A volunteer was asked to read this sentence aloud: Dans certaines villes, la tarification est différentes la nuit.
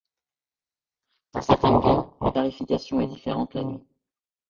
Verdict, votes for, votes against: rejected, 0, 2